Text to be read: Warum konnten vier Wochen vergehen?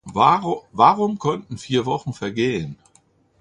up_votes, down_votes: 0, 2